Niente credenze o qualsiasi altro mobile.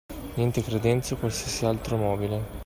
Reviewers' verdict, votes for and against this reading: accepted, 2, 1